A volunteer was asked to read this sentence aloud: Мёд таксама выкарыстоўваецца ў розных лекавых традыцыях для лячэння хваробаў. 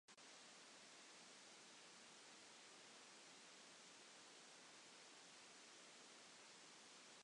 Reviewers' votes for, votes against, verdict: 1, 3, rejected